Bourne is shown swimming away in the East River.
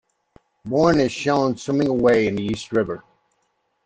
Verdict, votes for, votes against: rejected, 0, 2